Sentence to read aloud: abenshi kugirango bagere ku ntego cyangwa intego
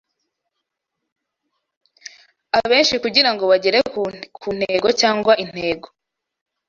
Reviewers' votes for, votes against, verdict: 0, 2, rejected